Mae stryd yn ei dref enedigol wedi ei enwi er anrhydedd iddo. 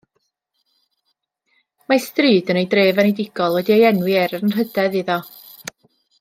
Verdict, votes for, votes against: accepted, 2, 0